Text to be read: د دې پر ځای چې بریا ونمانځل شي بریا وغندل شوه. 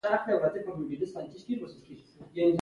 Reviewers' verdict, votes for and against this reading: accepted, 2, 0